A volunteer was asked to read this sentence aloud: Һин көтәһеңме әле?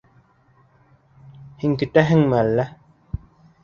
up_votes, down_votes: 1, 2